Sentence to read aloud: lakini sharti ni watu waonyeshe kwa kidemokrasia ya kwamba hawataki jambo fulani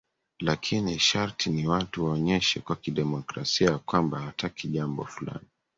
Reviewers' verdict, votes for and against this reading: accepted, 2, 1